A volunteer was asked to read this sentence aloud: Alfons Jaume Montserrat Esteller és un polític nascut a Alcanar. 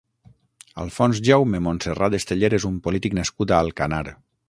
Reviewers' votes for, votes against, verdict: 6, 0, accepted